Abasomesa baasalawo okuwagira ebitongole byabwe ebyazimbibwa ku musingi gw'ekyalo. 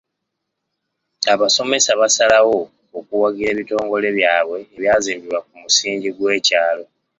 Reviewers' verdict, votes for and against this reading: rejected, 1, 2